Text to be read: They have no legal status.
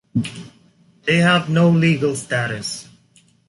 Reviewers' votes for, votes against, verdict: 2, 0, accepted